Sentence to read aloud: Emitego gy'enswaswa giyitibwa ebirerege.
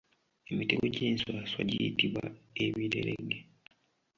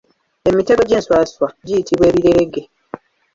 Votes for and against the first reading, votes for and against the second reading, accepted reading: 2, 0, 1, 2, first